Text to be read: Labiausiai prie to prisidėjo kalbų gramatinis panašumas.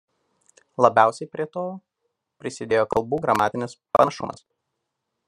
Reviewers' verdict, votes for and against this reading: accepted, 2, 0